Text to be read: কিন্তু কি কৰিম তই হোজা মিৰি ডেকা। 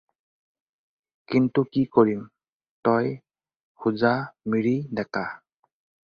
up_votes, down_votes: 4, 0